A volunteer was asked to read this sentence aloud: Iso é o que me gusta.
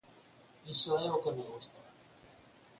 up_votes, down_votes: 4, 2